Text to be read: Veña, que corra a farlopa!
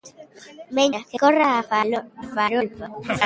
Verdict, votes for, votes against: rejected, 0, 2